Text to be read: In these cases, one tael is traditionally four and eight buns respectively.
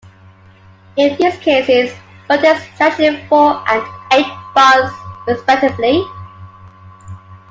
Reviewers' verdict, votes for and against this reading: rejected, 0, 2